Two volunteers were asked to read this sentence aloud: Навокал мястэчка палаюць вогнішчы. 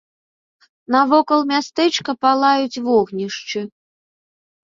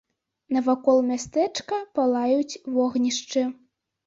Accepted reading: first